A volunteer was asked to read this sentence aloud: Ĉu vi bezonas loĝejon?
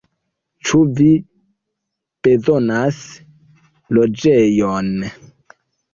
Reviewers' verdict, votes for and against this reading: rejected, 1, 2